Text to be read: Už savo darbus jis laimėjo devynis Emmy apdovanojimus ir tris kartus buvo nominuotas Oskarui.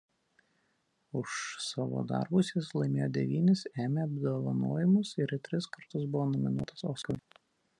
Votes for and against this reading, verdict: 0, 2, rejected